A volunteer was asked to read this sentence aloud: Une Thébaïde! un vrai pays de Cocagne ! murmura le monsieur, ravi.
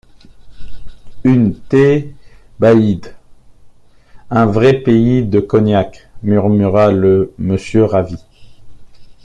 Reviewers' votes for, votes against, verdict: 0, 2, rejected